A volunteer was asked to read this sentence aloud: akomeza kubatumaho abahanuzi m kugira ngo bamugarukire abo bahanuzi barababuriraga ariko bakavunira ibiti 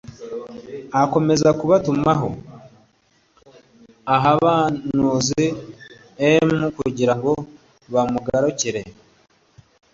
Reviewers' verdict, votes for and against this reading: rejected, 1, 2